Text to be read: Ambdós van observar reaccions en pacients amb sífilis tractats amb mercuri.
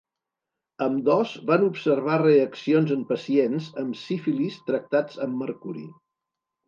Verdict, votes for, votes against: accepted, 2, 0